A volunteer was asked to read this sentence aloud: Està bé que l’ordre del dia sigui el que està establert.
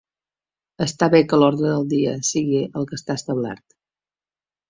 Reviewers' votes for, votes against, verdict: 2, 0, accepted